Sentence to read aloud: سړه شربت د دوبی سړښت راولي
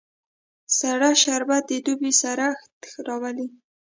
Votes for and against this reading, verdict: 1, 2, rejected